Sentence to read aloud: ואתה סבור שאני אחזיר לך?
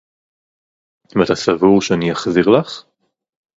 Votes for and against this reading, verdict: 2, 2, rejected